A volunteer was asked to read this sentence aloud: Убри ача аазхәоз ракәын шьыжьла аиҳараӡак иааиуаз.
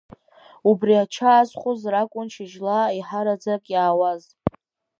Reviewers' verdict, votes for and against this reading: rejected, 2, 3